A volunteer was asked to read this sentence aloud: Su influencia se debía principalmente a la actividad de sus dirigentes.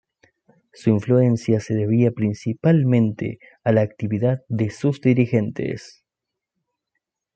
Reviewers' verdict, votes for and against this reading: accepted, 2, 0